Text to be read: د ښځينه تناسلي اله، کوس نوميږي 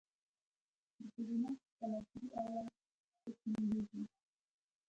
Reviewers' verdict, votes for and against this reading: rejected, 0, 2